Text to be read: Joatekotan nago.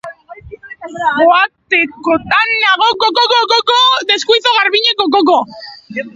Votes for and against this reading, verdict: 0, 3, rejected